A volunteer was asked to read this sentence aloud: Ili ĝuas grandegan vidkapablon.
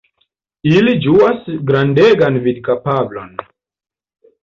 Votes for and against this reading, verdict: 2, 0, accepted